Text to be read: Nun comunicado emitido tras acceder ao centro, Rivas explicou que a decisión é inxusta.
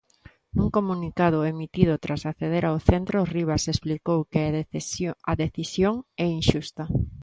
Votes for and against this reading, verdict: 0, 2, rejected